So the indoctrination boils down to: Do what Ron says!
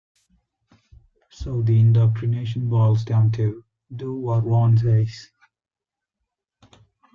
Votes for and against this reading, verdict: 2, 0, accepted